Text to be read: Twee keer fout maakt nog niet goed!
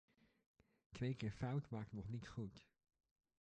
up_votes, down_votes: 2, 1